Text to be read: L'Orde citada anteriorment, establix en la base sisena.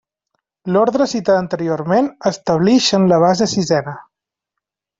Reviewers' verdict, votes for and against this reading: accepted, 2, 1